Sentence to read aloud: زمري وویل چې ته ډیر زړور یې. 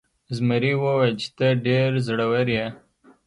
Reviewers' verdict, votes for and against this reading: accepted, 2, 0